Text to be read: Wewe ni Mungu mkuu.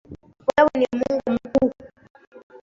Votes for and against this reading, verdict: 0, 2, rejected